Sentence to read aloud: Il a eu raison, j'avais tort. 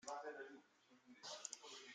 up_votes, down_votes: 0, 2